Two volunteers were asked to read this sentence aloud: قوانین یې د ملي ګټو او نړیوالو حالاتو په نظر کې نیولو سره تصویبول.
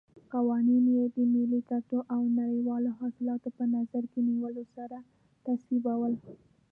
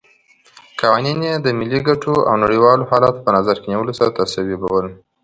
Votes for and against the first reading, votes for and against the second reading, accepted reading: 1, 2, 2, 0, second